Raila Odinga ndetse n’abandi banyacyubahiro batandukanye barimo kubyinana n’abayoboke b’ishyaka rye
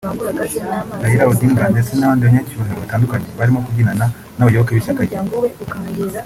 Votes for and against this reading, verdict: 1, 2, rejected